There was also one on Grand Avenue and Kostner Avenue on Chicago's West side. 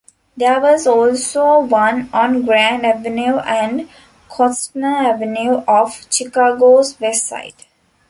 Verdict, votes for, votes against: rejected, 0, 2